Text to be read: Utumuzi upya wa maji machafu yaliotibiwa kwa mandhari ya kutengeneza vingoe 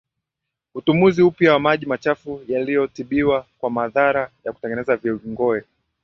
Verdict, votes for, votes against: rejected, 0, 2